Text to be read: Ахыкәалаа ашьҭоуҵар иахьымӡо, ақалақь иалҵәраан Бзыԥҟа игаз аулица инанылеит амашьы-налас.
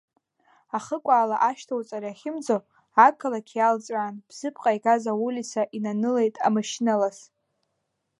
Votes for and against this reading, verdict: 1, 2, rejected